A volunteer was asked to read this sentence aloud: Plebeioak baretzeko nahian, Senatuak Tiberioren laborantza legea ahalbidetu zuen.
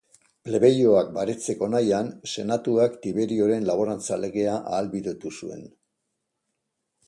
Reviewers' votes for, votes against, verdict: 1, 2, rejected